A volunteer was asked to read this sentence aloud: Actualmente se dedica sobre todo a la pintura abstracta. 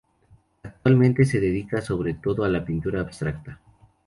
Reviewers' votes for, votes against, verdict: 0, 2, rejected